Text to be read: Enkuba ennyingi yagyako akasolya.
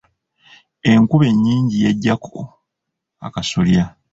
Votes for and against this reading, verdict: 2, 1, accepted